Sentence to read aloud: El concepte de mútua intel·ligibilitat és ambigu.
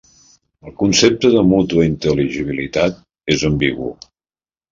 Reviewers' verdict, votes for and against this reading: accepted, 3, 0